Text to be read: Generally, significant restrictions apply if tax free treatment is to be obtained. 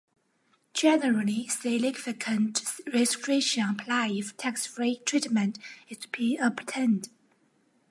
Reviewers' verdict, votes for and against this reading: rejected, 1, 2